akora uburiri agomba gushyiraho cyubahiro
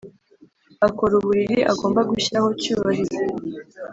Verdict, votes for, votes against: accepted, 2, 0